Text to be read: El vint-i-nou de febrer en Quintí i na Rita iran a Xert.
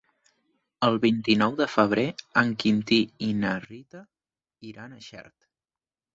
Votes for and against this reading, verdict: 3, 0, accepted